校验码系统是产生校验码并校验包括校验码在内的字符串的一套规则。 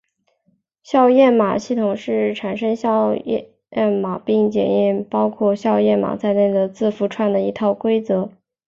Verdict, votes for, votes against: accepted, 2, 0